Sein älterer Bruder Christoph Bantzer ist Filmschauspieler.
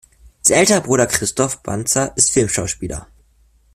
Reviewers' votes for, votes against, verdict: 2, 3, rejected